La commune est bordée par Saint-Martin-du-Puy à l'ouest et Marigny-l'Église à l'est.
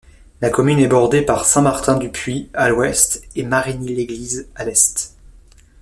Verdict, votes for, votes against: accepted, 2, 0